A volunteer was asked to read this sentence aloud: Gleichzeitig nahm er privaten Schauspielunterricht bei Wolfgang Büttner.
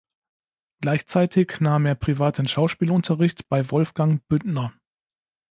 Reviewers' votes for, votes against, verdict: 2, 0, accepted